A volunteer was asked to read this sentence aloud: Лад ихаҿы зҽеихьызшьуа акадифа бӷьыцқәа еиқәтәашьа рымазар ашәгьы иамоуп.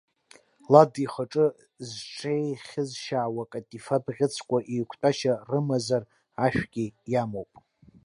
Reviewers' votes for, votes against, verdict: 1, 2, rejected